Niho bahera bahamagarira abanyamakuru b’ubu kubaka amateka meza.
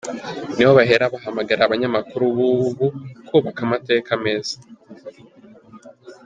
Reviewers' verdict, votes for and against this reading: accepted, 3, 0